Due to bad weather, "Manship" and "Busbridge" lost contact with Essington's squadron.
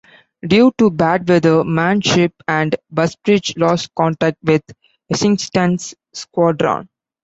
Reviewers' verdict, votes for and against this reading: accepted, 2, 0